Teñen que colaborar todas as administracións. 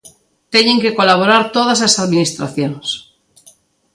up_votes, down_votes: 2, 0